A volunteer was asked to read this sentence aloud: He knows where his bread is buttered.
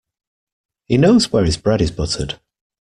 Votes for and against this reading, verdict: 2, 0, accepted